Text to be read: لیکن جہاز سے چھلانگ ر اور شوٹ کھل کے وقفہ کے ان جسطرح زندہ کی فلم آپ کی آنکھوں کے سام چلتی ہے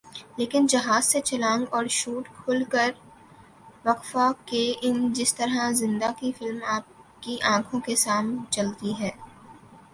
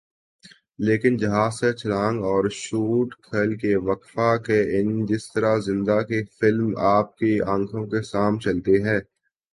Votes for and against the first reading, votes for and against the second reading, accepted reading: 1, 2, 2, 0, second